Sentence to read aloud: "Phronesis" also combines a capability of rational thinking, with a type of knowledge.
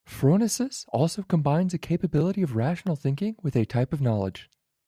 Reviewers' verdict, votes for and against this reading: accepted, 2, 1